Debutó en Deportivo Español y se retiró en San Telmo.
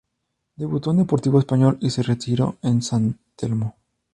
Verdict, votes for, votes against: accepted, 2, 0